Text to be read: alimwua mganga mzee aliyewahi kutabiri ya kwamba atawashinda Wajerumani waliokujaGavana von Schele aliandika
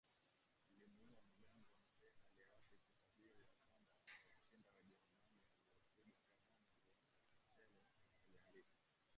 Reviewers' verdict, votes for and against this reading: rejected, 0, 2